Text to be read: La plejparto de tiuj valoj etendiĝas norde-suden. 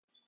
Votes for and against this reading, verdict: 2, 4, rejected